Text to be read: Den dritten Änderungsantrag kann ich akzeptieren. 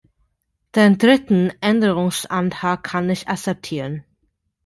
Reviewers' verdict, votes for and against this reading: accepted, 2, 1